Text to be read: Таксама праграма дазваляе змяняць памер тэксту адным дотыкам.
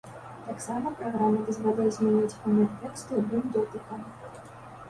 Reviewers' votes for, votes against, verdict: 0, 2, rejected